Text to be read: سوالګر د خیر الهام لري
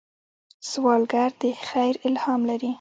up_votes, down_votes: 2, 1